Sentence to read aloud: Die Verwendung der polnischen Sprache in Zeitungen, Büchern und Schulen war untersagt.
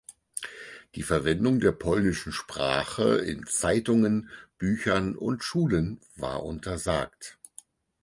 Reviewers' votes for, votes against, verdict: 4, 0, accepted